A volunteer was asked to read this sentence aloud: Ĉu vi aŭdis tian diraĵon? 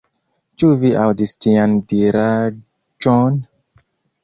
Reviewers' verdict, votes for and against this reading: accepted, 2, 1